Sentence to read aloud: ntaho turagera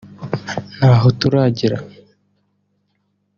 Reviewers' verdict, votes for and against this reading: accepted, 2, 0